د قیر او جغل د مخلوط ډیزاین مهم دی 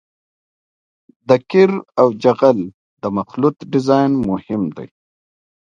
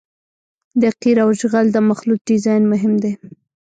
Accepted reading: first